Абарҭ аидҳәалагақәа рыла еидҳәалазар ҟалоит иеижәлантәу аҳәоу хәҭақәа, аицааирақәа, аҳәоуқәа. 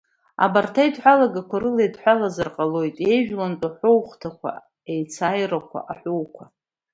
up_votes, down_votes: 2, 1